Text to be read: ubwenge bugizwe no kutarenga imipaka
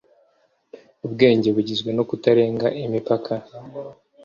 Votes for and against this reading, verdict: 2, 0, accepted